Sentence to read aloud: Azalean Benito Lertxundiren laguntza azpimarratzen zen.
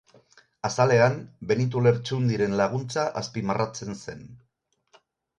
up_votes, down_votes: 4, 0